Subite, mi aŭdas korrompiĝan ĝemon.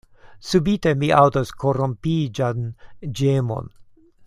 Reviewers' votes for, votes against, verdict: 2, 0, accepted